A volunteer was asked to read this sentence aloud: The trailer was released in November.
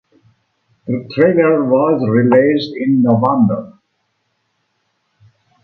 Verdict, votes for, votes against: accepted, 2, 0